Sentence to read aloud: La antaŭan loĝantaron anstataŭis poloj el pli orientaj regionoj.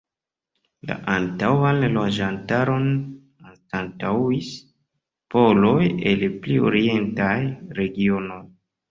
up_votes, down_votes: 1, 2